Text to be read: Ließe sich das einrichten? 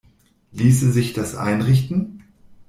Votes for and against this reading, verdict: 2, 0, accepted